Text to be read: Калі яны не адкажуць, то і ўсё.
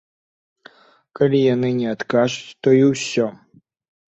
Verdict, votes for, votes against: rejected, 1, 2